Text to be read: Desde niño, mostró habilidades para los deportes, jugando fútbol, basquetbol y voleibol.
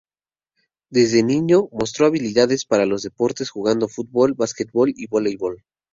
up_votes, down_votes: 2, 0